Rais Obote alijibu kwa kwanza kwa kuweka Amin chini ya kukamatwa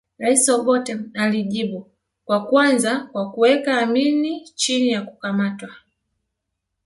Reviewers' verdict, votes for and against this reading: accepted, 2, 0